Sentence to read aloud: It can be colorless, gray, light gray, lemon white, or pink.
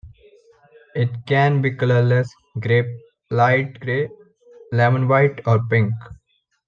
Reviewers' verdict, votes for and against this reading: accepted, 2, 0